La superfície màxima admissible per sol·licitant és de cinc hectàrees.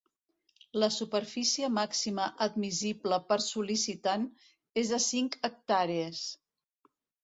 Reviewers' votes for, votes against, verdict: 2, 0, accepted